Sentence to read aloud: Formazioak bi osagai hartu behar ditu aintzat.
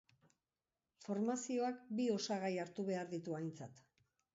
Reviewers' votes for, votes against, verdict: 1, 2, rejected